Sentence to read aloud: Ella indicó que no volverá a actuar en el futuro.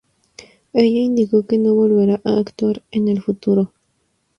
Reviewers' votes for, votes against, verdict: 2, 0, accepted